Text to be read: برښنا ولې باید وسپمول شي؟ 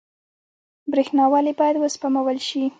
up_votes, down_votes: 2, 0